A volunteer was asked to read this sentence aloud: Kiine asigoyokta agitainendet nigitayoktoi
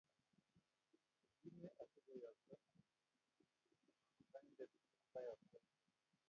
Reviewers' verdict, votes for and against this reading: rejected, 0, 2